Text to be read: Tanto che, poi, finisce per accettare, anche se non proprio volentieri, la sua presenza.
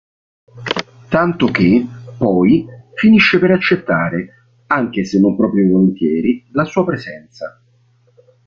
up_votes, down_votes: 3, 0